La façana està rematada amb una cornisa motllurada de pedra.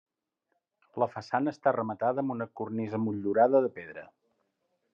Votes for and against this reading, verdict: 2, 0, accepted